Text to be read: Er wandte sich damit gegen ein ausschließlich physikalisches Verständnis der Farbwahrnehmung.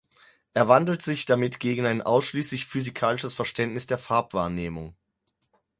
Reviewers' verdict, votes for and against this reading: rejected, 2, 6